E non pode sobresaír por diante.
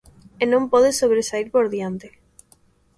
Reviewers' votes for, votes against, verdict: 2, 0, accepted